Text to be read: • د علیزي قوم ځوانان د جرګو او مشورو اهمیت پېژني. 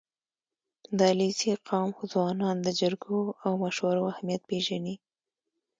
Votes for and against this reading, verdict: 1, 2, rejected